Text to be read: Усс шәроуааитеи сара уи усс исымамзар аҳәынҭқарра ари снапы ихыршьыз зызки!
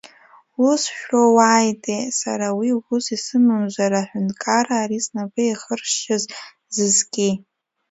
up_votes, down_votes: 2, 0